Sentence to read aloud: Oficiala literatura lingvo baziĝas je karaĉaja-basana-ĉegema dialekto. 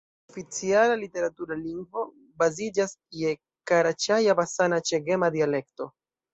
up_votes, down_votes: 2, 1